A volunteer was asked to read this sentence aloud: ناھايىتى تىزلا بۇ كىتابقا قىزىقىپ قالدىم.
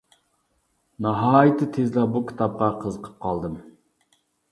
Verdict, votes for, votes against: accepted, 3, 0